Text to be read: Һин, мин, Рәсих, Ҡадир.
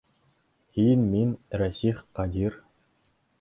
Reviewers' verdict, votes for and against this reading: accepted, 3, 0